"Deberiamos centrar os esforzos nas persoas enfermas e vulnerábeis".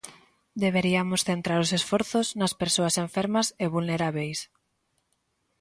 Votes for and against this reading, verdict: 2, 0, accepted